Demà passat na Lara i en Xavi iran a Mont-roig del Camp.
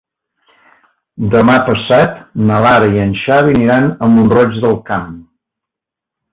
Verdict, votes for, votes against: rejected, 1, 2